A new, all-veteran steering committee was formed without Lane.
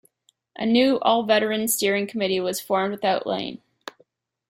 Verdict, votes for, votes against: accepted, 2, 0